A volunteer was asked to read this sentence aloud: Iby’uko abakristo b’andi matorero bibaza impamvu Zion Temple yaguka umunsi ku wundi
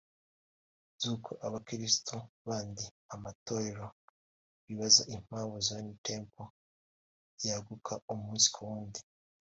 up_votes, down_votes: 2, 1